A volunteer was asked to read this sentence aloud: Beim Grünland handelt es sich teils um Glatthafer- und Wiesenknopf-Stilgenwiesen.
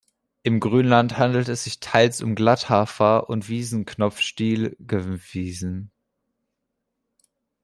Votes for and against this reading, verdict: 0, 2, rejected